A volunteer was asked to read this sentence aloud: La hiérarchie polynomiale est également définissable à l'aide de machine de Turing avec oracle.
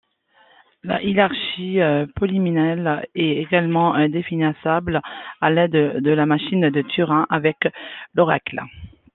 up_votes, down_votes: 0, 2